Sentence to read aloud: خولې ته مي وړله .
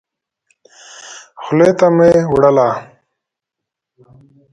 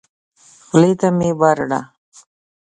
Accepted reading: first